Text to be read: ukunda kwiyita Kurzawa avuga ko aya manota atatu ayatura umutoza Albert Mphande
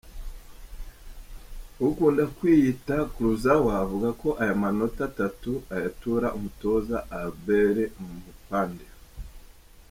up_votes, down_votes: 1, 2